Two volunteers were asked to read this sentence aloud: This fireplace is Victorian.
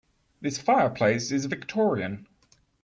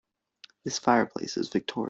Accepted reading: first